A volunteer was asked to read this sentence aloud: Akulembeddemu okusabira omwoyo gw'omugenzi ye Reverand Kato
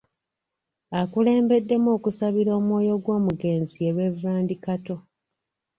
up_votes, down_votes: 0, 2